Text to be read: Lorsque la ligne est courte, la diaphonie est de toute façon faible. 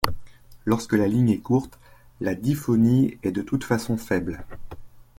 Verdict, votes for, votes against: rejected, 0, 2